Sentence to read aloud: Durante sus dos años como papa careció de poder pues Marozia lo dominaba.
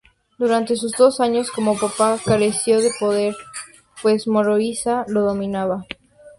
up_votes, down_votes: 0, 2